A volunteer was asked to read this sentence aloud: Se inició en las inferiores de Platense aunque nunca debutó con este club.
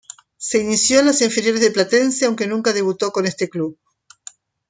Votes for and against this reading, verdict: 2, 0, accepted